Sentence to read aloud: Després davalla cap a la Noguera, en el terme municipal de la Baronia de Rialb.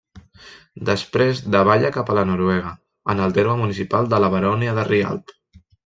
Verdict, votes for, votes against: rejected, 0, 2